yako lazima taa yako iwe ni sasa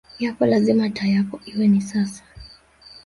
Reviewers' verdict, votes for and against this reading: accepted, 2, 1